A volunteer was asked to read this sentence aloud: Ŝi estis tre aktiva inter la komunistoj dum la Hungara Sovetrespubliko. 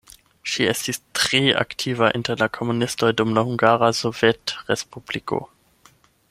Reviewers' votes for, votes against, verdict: 8, 0, accepted